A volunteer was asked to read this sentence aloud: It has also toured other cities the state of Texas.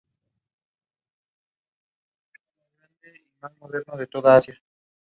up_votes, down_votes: 0, 2